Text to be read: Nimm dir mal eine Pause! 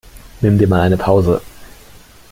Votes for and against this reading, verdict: 2, 0, accepted